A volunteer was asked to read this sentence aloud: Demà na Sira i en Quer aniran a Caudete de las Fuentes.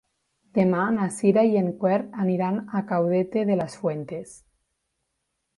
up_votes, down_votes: 0, 2